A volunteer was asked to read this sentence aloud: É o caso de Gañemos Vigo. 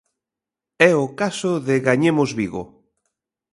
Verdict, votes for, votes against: accepted, 3, 0